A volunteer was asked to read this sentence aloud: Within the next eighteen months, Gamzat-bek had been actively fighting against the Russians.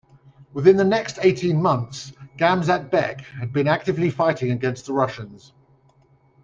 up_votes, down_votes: 2, 0